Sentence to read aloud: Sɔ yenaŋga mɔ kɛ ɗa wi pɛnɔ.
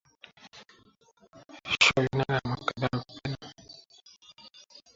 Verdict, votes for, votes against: rejected, 0, 2